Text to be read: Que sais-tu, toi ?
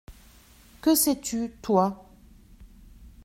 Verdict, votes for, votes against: accepted, 2, 0